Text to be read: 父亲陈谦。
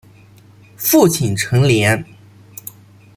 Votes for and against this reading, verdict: 0, 2, rejected